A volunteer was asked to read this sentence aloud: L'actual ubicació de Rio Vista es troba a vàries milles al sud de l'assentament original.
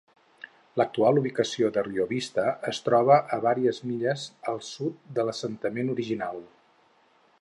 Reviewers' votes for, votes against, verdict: 4, 0, accepted